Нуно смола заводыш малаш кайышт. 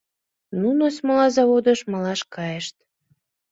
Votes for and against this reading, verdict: 2, 0, accepted